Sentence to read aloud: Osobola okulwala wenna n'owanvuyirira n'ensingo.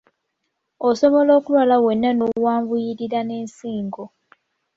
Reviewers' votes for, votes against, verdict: 2, 0, accepted